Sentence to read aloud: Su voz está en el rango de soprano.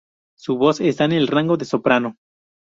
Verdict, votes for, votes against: rejected, 0, 2